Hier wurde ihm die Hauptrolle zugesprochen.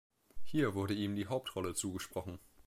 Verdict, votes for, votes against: accepted, 2, 0